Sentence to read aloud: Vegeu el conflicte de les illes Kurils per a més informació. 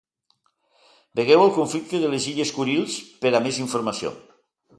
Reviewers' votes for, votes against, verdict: 2, 0, accepted